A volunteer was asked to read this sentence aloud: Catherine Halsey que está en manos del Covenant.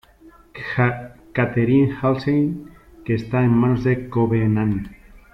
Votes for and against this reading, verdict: 1, 2, rejected